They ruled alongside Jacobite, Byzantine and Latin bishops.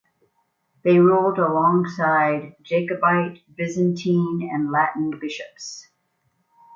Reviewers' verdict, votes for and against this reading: accepted, 2, 1